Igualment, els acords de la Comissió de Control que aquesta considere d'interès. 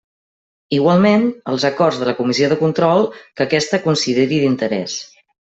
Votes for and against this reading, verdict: 1, 2, rejected